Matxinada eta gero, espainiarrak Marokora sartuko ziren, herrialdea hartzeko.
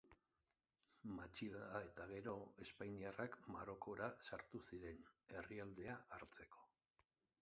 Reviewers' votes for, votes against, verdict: 1, 2, rejected